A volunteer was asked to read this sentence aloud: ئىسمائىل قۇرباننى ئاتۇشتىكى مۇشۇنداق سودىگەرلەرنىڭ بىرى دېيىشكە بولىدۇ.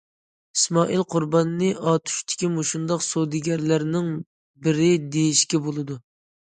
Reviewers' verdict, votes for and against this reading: accepted, 2, 0